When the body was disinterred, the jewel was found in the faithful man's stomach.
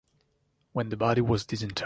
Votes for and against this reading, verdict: 0, 2, rejected